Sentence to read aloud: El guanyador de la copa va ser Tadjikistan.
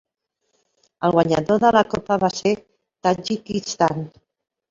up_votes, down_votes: 3, 0